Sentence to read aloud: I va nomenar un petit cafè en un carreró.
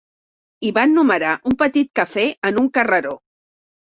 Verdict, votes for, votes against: rejected, 1, 2